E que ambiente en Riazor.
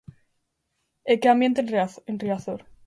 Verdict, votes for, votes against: rejected, 0, 2